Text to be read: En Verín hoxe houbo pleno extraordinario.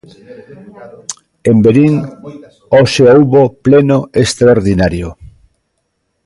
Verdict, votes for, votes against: rejected, 0, 2